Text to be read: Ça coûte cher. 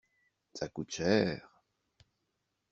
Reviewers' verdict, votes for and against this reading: accepted, 2, 0